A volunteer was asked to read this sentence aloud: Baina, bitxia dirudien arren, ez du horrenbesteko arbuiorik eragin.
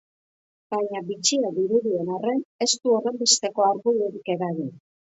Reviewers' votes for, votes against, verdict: 2, 0, accepted